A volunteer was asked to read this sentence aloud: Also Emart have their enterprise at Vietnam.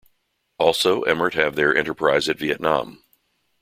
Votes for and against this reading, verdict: 2, 0, accepted